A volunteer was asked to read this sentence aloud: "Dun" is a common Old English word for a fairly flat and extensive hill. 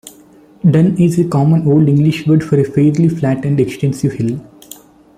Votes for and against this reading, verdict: 2, 0, accepted